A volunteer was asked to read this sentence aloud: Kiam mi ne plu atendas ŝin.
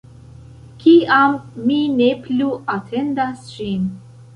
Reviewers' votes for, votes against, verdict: 2, 0, accepted